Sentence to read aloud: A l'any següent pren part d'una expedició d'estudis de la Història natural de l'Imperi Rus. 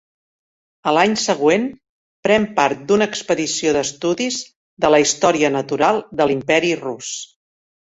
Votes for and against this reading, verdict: 3, 0, accepted